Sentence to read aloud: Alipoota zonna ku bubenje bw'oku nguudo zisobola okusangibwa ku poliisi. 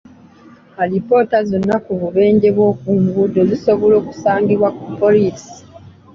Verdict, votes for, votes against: accepted, 2, 1